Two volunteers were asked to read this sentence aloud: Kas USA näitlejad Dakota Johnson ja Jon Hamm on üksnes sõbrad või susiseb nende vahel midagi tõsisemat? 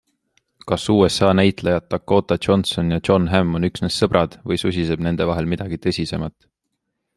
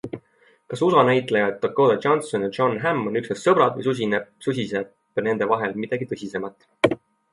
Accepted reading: first